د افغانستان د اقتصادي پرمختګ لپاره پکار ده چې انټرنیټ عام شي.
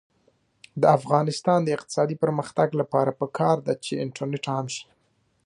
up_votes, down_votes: 2, 0